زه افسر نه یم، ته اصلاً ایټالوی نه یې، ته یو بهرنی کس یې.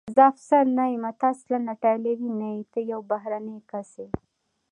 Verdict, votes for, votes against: rejected, 1, 2